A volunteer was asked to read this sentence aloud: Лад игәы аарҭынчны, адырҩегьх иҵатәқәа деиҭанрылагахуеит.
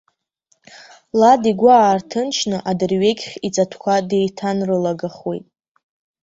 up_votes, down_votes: 2, 0